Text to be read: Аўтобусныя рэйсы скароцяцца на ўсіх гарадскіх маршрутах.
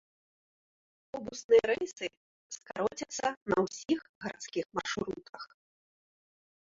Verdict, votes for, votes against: rejected, 1, 2